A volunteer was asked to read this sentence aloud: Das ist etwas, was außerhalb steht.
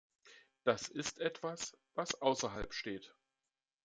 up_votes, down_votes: 2, 1